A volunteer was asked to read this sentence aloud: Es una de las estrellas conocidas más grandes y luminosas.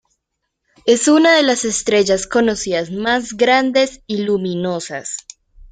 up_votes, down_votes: 2, 0